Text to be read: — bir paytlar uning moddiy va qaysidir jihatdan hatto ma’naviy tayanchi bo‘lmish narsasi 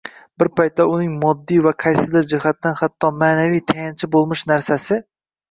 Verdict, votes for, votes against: rejected, 0, 2